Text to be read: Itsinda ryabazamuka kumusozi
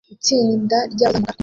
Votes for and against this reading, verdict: 1, 2, rejected